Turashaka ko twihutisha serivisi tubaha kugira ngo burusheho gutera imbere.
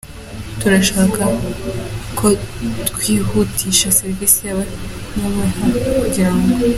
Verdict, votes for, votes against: rejected, 0, 2